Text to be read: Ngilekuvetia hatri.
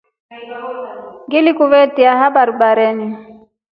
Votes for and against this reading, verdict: 2, 6, rejected